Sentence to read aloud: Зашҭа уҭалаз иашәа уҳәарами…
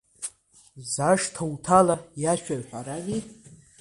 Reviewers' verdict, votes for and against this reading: accepted, 2, 1